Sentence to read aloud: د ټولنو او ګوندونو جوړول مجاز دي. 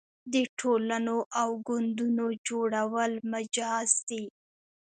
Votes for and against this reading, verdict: 2, 0, accepted